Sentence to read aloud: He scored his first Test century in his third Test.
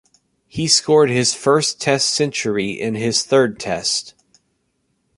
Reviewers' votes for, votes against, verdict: 1, 2, rejected